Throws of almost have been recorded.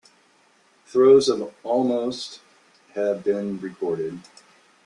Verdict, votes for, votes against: rejected, 1, 2